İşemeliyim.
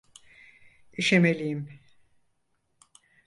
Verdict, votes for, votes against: accepted, 4, 0